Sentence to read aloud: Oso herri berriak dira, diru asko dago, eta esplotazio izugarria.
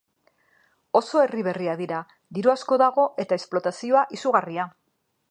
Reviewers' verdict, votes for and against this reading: rejected, 2, 2